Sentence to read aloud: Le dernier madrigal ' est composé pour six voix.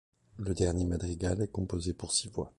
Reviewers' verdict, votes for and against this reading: accepted, 2, 0